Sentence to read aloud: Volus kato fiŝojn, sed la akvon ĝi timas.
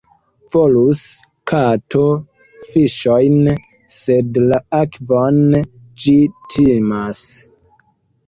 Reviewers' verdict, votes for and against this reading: accepted, 2, 0